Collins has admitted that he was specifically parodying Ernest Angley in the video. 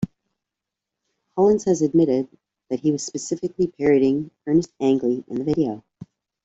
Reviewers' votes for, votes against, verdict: 1, 2, rejected